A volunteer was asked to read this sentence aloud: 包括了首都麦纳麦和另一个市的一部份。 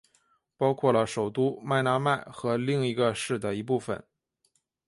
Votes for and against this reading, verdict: 2, 0, accepted